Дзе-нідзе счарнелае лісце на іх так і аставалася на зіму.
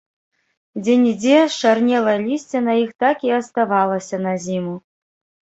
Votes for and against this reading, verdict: 1, 2, rejected